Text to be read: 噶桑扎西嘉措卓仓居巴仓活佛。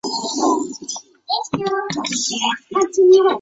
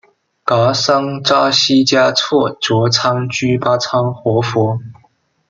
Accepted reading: second